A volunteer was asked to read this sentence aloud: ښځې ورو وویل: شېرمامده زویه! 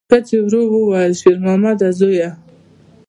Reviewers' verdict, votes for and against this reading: accepted, 2, 0